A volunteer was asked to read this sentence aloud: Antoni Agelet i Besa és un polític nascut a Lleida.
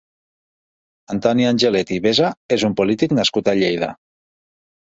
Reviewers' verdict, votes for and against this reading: rejected, 1, 2